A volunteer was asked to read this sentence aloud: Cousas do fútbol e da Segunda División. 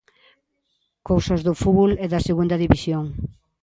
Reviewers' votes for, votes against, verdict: 2, 0, accepted